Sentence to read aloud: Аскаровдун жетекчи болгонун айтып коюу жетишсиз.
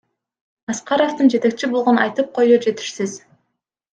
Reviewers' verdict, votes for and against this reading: accepted, 2, 0